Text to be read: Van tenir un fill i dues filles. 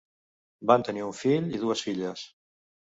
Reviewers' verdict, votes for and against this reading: accepted, 4, 0